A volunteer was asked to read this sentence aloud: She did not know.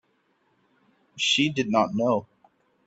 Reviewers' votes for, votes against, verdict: 2, 0, accepted